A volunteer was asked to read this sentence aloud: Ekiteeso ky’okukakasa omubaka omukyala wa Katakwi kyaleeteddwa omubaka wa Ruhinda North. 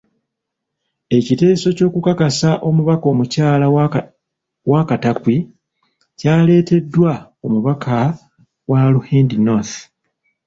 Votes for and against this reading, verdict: 1, 3, rejected